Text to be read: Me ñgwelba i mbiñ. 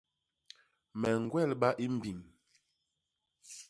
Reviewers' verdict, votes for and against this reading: accepted, 2, 0